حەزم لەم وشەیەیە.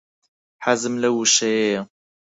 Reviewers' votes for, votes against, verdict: 2, 4, rejected